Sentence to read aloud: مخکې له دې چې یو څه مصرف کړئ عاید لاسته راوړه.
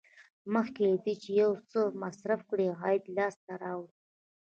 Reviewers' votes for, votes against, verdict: 2, 0, accepted